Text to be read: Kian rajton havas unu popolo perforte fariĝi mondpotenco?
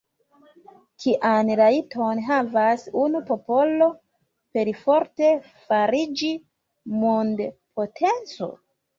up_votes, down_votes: 0, 2